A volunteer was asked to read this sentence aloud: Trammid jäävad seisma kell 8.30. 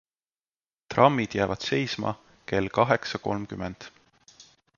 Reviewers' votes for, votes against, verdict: 0, 2, rejected